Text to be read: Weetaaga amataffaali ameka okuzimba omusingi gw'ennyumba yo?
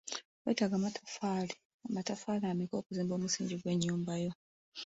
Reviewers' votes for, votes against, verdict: 1, 2, rejected